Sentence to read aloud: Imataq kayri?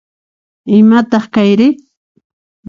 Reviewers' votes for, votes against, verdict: 2, 0, accepted